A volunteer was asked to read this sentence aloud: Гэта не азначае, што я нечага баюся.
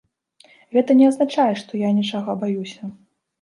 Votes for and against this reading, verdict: 1, 2, rejected